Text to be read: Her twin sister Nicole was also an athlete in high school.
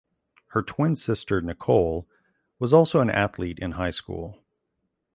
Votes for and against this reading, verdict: 2, 0, accepted